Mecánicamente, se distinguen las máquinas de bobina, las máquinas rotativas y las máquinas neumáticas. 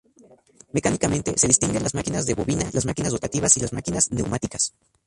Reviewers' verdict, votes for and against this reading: rejected, 2, 2